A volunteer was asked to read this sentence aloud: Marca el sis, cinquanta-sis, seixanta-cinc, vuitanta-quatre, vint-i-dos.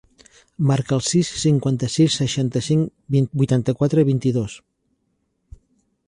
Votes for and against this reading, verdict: 0, 2, rejected